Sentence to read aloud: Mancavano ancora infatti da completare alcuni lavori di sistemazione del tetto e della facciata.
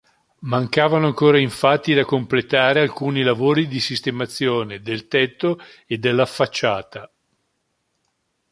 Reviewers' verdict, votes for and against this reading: accepted, 2, 0